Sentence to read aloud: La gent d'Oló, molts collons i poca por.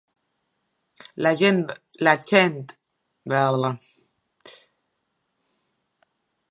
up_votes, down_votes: 1, 2